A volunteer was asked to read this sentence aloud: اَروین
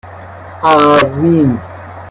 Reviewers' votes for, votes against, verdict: 1, 2, rejected